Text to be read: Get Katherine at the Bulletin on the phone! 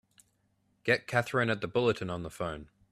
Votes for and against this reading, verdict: 2, 0, accepted